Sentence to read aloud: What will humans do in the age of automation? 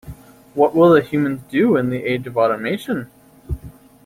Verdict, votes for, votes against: rejected, 1, 2